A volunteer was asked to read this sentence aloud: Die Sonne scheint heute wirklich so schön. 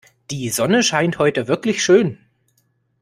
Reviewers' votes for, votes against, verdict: 1, 2, rejected